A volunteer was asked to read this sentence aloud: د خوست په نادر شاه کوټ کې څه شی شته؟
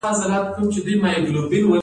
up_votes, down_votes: 1, 2